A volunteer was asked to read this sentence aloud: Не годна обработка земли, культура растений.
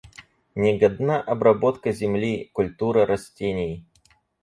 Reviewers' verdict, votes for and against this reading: accepted, 4, 0